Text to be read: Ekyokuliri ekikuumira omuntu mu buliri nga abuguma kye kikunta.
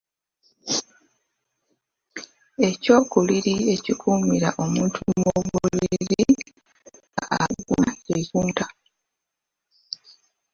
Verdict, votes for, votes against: rejected, 0, 2